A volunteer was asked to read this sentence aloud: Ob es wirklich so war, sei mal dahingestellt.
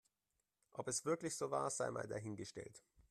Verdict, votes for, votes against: accepted, 2, 0